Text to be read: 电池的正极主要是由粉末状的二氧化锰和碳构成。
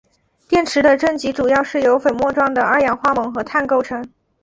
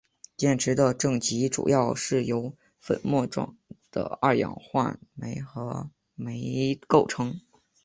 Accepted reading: first